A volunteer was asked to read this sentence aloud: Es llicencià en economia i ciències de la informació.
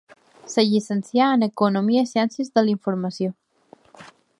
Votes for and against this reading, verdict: 0, 2, rejected